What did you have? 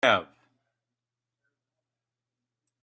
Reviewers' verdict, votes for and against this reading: rejected, 0, 2